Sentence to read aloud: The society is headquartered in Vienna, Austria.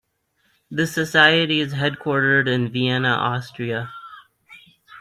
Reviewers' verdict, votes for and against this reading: rejected, 1, 2